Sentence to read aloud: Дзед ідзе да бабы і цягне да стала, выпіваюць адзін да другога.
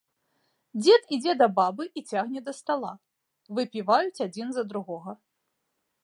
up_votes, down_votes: 0, 2